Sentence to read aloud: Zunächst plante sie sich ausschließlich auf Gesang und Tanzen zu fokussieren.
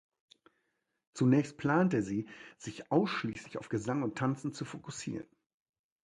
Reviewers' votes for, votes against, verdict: 2, 0, accepted